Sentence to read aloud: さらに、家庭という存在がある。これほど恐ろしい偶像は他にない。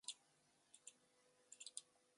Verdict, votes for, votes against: rejected, 0, 2